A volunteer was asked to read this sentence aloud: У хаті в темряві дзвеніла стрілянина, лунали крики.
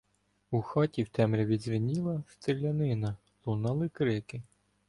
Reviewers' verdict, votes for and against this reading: accepted, 2, 0